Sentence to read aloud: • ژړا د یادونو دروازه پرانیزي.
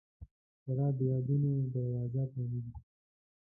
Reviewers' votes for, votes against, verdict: 0, 2, rejected